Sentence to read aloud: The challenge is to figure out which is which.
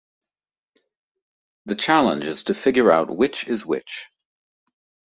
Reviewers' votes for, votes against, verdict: 2, 0, accepted